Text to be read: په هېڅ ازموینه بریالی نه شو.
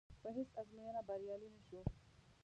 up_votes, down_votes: 1, 2